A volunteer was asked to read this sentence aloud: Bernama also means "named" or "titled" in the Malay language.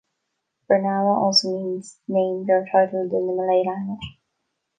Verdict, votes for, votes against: accepted, 2, 0